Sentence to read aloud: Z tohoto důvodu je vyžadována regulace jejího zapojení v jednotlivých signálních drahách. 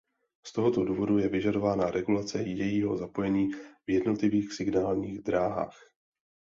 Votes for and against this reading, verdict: 2, 0, accepted